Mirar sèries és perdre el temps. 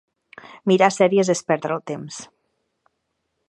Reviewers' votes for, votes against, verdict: 2, 0, accepted